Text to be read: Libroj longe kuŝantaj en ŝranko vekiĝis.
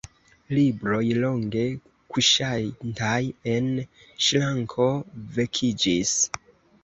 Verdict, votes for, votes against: rejected, 1, 2